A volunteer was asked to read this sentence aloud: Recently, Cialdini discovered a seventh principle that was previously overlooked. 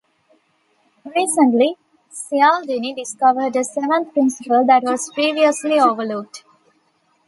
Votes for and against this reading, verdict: 1, 2, rejected